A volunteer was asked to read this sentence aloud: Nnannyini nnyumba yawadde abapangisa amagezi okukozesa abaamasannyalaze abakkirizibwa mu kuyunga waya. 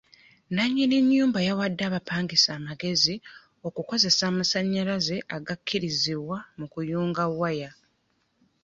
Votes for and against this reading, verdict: 0, 2, rejected